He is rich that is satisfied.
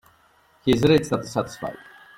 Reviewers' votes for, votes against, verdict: 1, 2, rejected